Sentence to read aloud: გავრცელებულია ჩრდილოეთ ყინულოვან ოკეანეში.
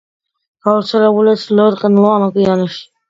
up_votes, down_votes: 2, 0